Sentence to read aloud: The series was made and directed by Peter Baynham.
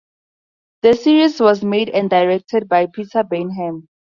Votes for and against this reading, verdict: 2, 0, accepted